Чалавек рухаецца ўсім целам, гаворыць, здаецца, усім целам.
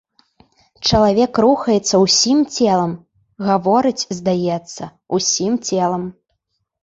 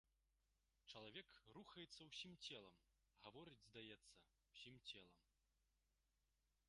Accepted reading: first